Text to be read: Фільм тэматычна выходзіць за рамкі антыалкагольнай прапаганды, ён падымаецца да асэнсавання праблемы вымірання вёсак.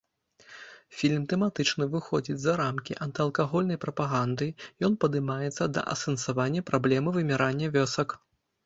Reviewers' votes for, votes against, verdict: 2, 0, accepted